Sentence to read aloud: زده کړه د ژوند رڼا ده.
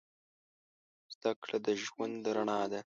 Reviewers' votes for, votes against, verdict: 2, 0, accepted